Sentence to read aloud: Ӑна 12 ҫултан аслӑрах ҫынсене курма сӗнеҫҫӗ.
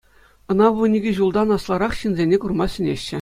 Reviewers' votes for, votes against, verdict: 0, 2, rejected